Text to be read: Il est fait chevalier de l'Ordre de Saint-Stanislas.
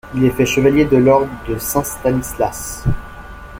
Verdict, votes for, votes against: accepted, 2, 1